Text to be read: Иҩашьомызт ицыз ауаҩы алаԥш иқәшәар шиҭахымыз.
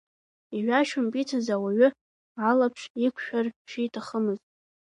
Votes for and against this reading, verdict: 1, 2, rejected